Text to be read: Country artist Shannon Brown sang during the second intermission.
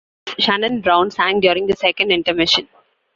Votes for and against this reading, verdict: 0, 2, rejected